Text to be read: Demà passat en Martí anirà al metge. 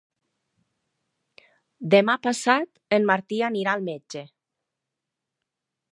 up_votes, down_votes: 3, 0